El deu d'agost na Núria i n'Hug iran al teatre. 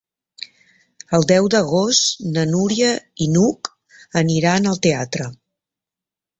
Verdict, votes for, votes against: rejected, 0, 2